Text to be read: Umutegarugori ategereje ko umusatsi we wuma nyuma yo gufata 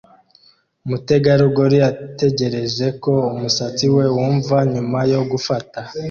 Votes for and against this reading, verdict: 0, 2, rejected